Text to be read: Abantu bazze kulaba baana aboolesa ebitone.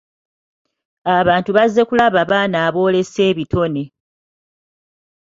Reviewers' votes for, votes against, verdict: 2, 0, accepted